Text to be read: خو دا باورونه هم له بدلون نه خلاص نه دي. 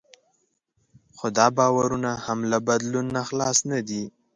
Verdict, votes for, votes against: accepted, 2, 0